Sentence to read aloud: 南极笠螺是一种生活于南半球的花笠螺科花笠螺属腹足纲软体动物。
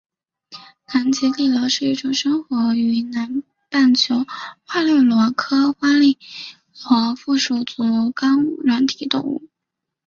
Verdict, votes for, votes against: accepted, 2, 1